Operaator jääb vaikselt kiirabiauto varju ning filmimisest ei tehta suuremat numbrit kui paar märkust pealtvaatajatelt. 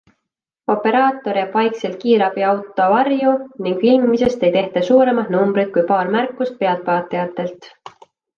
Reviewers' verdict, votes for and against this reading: accepted, 2, 0